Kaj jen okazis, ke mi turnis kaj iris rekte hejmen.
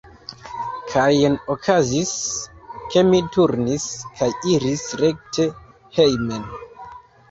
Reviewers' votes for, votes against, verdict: 2, 1, accepted